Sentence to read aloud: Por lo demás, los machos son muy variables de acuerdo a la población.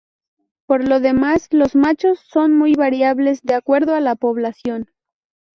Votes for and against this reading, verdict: 0, 2, rejected